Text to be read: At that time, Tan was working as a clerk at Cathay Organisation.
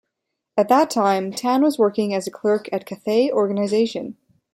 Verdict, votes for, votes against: accepted, 3, 0